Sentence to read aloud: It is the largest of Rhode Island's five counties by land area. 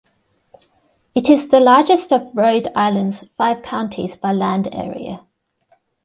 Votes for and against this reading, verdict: 3, 0, accepted